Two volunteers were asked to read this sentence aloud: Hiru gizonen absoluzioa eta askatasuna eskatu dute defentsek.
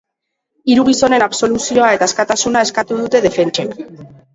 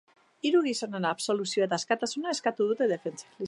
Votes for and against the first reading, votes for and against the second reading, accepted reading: 2, 0, 0, 2, first